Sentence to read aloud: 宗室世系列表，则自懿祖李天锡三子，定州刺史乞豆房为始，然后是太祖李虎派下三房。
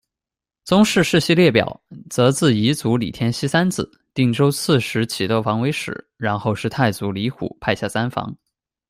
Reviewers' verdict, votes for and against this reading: rejected, 1, 2